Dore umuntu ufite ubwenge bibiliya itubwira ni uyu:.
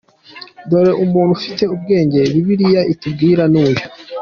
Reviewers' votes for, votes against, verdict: 2, 0, accepted